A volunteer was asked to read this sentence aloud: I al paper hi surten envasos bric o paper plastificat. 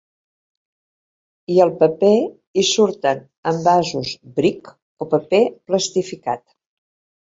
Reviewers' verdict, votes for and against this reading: accepted, 2, 0